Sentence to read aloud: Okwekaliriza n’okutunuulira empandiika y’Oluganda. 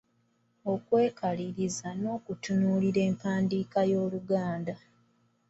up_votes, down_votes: 2, 0